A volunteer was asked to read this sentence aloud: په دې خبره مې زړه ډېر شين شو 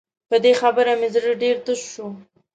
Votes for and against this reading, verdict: 0, 2, rejected